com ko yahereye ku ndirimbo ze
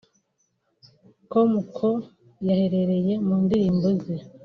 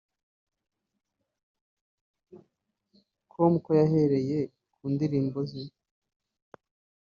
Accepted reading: second